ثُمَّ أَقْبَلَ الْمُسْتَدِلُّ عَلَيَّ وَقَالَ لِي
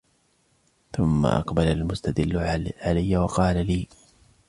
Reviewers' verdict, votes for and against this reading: accepted, 2, 0